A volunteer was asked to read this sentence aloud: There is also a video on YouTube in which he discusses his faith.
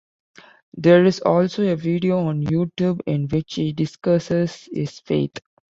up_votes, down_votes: 2, 0